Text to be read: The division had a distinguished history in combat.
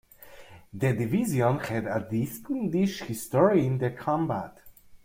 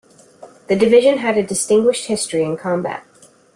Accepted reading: second